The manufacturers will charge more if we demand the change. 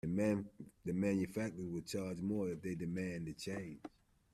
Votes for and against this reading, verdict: 0, 2, rejected